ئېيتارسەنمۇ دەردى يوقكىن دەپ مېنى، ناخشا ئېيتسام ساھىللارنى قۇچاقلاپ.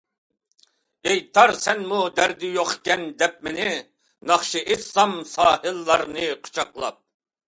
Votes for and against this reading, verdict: 2, 0, accepted